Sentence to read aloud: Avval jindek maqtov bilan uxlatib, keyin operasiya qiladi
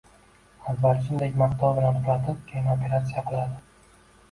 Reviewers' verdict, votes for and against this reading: rejected, 0, 2